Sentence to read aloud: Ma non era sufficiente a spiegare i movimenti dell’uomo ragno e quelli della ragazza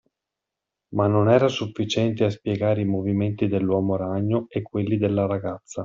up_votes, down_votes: 2, 0